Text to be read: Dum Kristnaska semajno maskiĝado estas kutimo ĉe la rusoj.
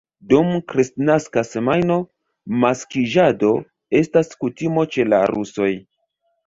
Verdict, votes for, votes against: rejected, 1, 2